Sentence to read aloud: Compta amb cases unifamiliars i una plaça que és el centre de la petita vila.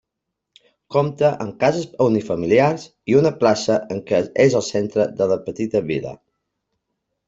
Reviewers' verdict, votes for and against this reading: rejected, 0, 2